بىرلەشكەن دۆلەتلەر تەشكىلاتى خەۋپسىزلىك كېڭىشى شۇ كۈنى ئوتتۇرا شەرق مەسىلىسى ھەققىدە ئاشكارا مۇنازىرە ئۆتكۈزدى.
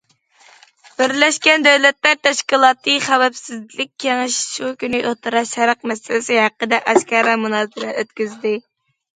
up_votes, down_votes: 1, 2